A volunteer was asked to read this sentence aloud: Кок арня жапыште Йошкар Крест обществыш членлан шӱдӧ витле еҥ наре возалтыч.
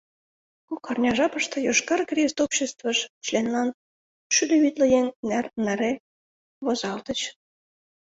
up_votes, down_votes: 0, 2